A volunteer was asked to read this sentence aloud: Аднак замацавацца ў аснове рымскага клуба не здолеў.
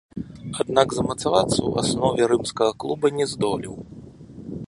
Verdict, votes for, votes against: accepted, 2, 1